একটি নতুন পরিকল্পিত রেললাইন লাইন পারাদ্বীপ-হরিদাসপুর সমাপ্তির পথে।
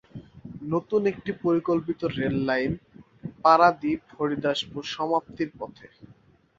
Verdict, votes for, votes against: rejected, 1, 2